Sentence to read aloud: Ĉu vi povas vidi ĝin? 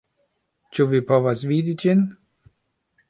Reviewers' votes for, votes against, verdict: 2, 0, accepted